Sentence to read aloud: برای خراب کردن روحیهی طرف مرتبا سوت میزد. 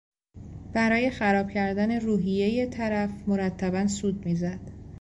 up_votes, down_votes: 2, 0